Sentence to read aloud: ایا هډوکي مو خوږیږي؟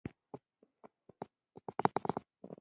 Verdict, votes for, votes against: rejected, 1, 2